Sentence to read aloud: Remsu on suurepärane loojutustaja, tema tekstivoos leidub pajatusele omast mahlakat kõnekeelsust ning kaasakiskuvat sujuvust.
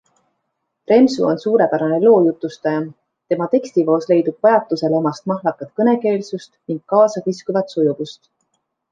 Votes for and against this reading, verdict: 2, 0, accepted